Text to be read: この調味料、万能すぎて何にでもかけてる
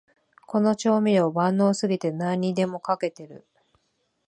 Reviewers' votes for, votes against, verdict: 3, 0, accepted